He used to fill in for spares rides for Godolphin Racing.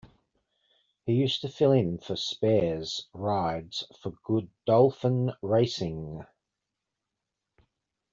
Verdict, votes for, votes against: rejected, 1, 2